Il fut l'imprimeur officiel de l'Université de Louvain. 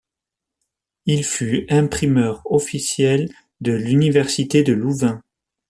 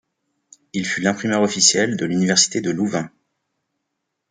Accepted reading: second